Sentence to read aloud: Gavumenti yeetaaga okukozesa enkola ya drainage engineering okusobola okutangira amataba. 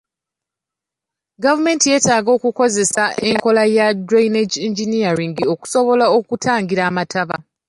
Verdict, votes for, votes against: accepted, 2, 1